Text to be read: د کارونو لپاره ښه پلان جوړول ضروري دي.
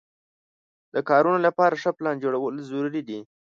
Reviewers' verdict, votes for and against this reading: rejected, 1, 2